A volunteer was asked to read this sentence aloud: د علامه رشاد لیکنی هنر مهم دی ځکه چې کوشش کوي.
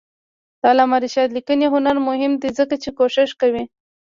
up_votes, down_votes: 0, 2